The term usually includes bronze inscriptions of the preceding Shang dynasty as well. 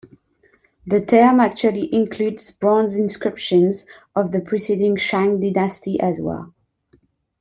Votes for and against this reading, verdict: 0, 2, rejected